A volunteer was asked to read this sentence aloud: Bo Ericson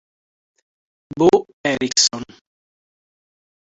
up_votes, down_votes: 1, 2